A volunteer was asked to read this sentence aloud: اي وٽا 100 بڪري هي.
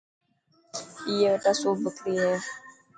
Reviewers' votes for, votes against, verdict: 0, 2, rejected